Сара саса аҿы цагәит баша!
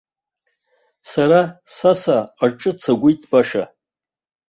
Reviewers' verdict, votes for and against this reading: accepted, 2, 1